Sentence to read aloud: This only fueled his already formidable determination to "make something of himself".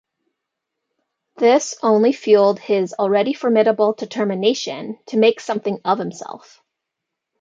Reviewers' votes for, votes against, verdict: 2, 0, accepted